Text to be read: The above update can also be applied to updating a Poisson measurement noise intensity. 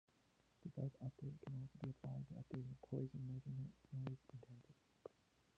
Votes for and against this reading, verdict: 0, 2, rejected